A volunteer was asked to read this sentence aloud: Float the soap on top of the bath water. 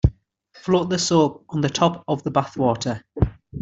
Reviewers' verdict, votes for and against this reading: rejected, 0, 2